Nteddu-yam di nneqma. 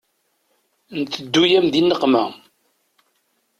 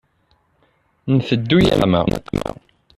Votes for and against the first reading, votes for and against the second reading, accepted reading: 2, 0, 0, 2, first